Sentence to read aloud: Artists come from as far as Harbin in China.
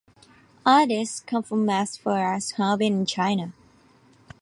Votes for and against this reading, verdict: 2, 0, accepted